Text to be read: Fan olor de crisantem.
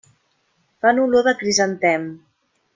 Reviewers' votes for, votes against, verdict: 3, 0, accepted